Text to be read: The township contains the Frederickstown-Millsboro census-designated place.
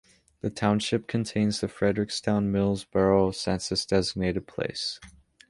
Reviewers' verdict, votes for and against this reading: accepted, 2, 0